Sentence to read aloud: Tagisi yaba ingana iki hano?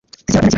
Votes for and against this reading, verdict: 0, 2, rejected